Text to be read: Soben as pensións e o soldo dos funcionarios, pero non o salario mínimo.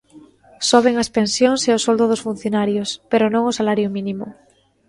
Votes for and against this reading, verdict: 2, 0, accepted